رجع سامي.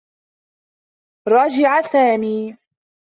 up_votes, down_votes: 1, 2